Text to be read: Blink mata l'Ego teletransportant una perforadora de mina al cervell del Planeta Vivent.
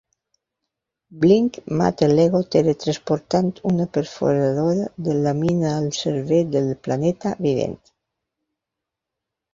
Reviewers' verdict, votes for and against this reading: rejected, 1, 2